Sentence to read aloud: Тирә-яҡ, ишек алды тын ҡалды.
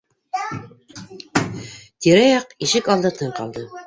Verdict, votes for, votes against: rejected, 0, 2